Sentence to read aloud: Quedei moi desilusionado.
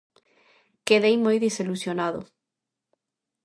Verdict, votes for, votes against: accepted, 2, 0